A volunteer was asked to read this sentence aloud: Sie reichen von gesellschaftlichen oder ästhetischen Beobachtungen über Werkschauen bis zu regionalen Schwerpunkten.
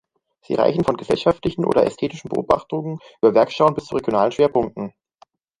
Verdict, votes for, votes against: rejected, 1, 2